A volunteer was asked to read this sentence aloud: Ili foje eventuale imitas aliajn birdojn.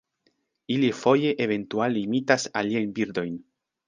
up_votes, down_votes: 2, 0